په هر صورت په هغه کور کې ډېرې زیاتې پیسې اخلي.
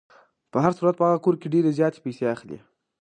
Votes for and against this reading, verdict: 2, 0, accepted